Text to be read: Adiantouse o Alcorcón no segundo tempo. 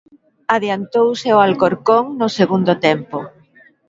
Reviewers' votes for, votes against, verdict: 2, 1, accepted